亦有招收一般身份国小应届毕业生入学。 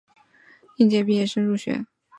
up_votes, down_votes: 1, 2